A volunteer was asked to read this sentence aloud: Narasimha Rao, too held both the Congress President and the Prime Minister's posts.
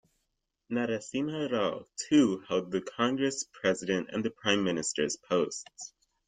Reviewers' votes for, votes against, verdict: 0, 2, rejected